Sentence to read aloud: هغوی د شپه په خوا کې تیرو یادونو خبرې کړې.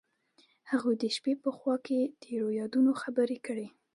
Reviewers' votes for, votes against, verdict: 2, 0, accepted